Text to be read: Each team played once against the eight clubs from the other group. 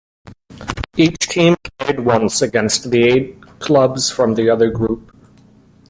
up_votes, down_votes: 0, 2